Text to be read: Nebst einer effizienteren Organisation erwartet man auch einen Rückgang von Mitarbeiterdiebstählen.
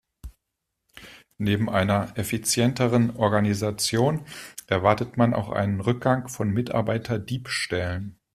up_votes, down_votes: 0, 2